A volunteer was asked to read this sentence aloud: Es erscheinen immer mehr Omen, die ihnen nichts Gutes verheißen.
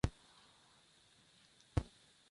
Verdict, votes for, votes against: rejected, 0, 2